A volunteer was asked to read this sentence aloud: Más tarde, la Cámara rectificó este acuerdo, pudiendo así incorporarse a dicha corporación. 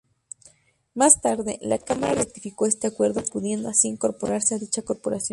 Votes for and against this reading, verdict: 2, 0, accepted